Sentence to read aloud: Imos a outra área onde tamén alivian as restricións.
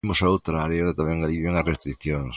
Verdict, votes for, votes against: rejected, 0, 2